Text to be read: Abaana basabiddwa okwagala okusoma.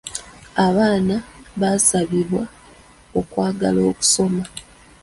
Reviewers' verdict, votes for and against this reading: rejected, 0, 2